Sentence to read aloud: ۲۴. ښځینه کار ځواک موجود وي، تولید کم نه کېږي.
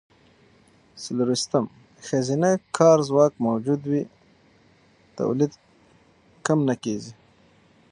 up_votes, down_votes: 0, 2